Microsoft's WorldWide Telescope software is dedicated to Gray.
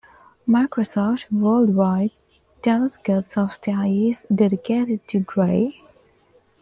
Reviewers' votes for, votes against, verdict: 1, 2, rejected